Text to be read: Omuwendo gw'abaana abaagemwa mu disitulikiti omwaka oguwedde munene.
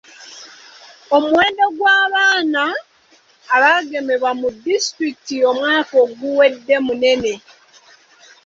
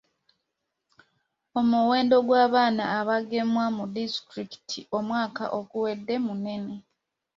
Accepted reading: second